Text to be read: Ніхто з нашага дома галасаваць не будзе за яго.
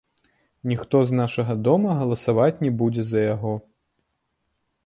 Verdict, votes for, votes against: accepted, 2, 0